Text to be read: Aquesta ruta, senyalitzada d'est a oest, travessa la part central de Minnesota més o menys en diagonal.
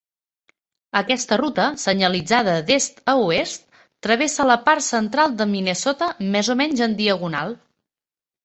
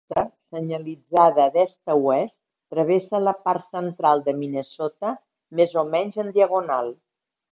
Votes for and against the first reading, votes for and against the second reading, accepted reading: 3, 0, 0, 2, first